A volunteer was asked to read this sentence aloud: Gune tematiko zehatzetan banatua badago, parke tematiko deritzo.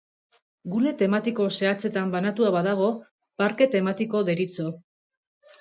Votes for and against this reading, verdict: 2, 0, accepted